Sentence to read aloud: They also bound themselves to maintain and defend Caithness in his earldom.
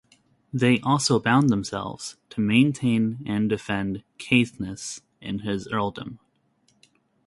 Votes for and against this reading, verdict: 2, 1, accepted